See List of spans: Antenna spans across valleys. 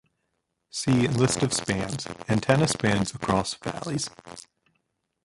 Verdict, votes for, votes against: rejected, 0, 2